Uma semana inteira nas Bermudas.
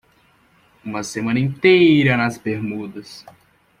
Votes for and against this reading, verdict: 2, 0, accepted